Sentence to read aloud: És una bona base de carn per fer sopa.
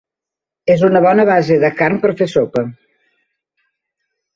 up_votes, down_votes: 3, 0